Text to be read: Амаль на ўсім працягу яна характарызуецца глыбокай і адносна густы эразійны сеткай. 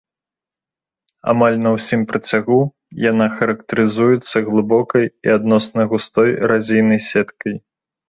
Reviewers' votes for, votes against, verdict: 1, 2, rejected